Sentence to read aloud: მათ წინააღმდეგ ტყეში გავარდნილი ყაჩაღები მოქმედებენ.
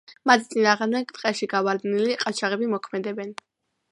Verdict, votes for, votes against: accepted, 2, 0